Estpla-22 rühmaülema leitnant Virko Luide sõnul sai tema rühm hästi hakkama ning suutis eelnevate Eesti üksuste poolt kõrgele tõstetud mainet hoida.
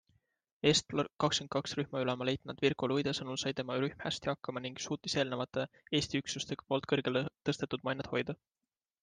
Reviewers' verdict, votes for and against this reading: rejected, 0, 2